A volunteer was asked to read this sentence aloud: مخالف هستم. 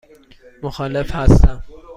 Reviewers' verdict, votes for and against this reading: accepted, 2, 0